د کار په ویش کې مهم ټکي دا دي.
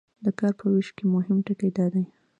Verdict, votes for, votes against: rejected, 0, 2